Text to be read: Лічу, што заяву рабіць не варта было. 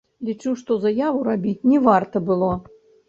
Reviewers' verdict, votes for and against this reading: rejected, 0, 2